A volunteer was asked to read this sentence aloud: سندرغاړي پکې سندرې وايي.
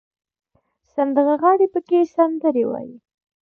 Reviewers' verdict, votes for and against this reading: accepted, 2, 0